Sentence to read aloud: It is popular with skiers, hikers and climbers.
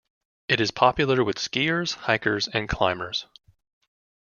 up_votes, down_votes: 2, 0